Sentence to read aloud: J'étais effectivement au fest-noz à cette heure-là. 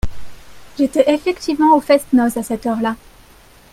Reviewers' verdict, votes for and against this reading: accepted, 2, 0